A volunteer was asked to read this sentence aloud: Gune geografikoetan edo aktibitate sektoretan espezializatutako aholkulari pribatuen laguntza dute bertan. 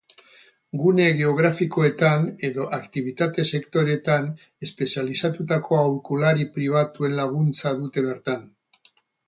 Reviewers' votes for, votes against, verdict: 4, 2, accepted